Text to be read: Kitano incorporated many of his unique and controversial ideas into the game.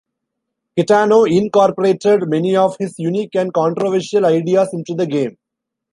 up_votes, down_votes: 0, 2